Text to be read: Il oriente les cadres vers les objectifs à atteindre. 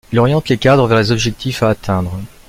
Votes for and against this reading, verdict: 1, 2, rejected